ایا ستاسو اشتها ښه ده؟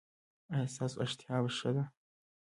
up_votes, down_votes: 3, 2